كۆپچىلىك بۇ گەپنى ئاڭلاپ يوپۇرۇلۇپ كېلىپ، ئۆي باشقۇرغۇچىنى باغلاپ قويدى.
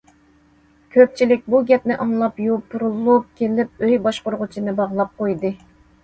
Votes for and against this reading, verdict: 2, 0, accepted